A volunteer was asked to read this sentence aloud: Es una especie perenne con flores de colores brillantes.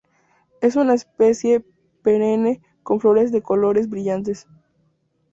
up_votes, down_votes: 0, 2